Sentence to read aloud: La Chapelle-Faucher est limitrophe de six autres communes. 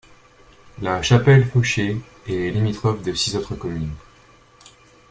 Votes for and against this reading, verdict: 2, 0, accepted